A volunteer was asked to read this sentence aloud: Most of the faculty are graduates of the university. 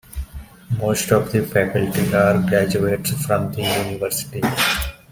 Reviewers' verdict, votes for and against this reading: rejected, 0, 2